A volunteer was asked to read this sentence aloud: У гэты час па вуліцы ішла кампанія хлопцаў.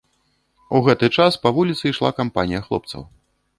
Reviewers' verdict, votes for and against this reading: accepted, 2, 0